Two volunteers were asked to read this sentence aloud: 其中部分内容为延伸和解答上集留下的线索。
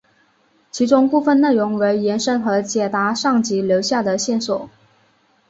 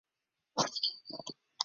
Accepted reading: first